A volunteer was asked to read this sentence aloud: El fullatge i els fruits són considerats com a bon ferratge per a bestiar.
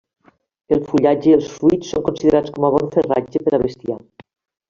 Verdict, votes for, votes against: rejected, 0, 2